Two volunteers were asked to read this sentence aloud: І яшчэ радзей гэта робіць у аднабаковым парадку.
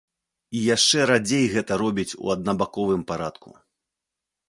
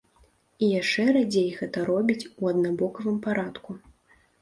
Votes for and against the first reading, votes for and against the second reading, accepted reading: 2, 0, 1, 2, first